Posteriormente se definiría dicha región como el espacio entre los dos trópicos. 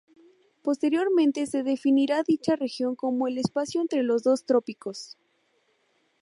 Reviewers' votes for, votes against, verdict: 0, 2, rejected